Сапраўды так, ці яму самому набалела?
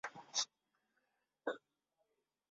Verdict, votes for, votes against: rejected, 0, 3